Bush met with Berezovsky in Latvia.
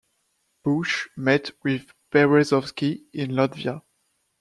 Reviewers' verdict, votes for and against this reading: accepted, 2, 0